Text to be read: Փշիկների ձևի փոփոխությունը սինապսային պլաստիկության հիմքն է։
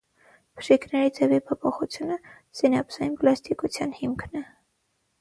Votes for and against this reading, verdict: 0, 6, rejected